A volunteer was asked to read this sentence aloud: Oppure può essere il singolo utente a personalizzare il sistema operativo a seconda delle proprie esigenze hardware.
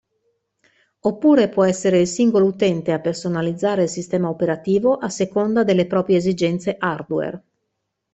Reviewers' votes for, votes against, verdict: 2, 0, accepted